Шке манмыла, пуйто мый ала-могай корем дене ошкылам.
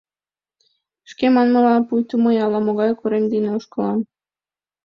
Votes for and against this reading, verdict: 2, 0, accepted